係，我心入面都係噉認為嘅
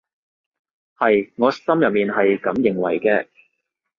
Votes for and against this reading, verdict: 1, 2, rejected